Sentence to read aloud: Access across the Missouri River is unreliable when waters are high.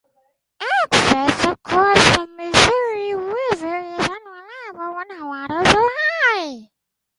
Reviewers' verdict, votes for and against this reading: rejected, 0, 4